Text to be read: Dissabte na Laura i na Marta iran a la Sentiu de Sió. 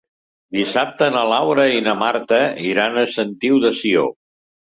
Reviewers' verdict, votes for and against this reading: rejected, 0, 2